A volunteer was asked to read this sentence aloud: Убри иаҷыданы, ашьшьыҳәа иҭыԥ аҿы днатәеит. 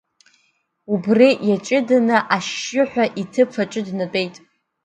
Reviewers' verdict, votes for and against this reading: accepted, 2, 1